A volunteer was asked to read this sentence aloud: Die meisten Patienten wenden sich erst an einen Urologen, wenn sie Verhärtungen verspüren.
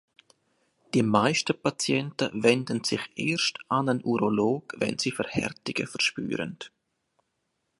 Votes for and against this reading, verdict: 1, 2, rejected